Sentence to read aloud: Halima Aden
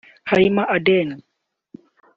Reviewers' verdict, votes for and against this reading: rejected, 0, 2